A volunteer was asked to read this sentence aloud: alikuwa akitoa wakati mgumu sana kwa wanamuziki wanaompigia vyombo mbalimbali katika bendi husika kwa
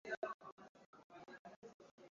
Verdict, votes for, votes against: rejected, 0, 2